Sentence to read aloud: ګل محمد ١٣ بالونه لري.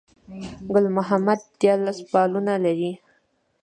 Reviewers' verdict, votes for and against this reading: rejected, 0, 2